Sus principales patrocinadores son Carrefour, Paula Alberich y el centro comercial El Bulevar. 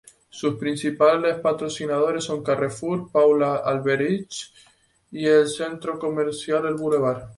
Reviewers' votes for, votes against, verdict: 2, 4, rejected